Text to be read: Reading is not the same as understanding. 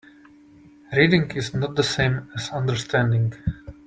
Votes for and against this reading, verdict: 2, 0, accepted